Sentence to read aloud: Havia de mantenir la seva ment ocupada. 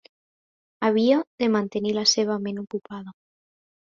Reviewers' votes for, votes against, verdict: 2, 0, accepted